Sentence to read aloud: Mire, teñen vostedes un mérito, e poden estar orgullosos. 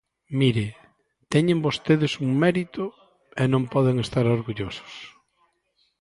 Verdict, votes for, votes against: rejected, 0, 2